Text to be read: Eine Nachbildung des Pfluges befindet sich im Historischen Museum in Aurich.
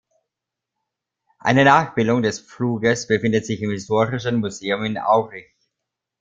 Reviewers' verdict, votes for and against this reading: accepted, 2, 0